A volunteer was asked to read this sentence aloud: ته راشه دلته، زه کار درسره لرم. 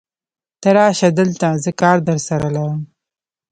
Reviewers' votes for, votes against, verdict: 0, 2, rejected